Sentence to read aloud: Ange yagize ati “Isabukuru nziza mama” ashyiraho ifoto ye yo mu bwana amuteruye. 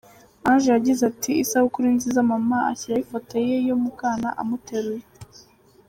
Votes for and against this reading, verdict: 2, 0, accepted